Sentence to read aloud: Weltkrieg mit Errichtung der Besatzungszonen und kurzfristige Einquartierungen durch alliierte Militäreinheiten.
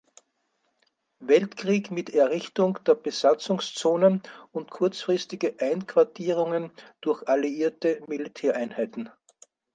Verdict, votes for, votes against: accepted, 4, 0